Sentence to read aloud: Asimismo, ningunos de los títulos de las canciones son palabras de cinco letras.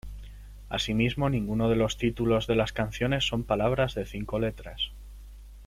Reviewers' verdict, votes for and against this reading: accepted, 2, 0